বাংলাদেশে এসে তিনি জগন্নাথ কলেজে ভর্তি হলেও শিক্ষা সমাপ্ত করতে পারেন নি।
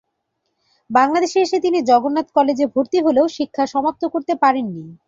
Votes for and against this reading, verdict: 3, 0, accepted